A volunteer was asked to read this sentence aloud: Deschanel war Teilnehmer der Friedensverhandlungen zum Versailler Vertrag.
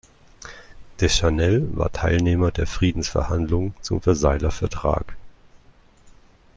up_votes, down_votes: 2, 0